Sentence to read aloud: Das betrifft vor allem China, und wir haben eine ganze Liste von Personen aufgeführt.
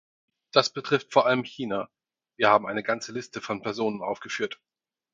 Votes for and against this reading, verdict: 2, 4, rejected